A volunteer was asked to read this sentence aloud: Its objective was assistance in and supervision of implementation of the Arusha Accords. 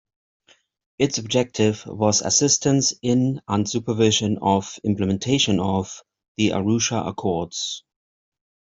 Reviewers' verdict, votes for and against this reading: accepted, 2, 0